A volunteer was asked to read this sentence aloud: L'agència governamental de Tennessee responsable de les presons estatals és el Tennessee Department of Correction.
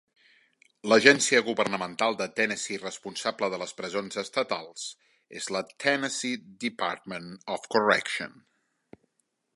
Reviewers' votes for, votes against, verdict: 1, 2, rejected